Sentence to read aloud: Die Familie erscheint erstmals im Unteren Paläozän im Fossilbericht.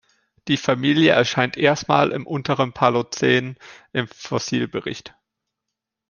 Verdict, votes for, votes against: rejected, 1, 2